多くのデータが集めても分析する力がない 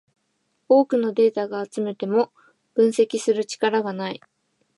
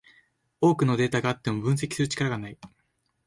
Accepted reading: first